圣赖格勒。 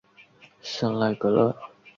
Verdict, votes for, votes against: accepted, 3, 0